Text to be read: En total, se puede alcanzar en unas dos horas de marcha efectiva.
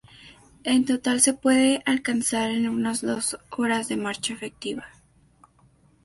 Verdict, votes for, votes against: accepted, 2, 0